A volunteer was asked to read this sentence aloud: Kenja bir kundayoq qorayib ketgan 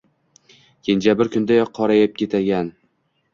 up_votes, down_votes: 1, 2